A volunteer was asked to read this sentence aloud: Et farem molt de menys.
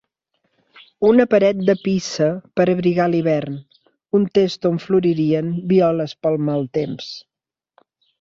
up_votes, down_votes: 1, 2